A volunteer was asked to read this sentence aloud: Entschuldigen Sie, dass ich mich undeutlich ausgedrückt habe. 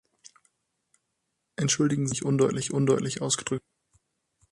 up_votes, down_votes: 0, 6